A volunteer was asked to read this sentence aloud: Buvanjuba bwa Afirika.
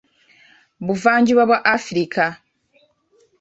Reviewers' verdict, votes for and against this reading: accepted, 2, 0